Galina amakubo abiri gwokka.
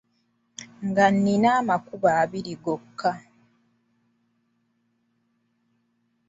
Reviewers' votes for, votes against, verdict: 0, 2, rejected